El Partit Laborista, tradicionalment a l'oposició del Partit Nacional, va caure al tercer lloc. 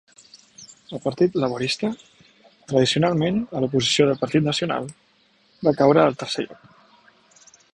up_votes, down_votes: 2, 0